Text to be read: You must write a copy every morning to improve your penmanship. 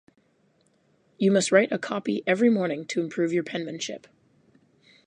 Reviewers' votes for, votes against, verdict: 4, 0, accepted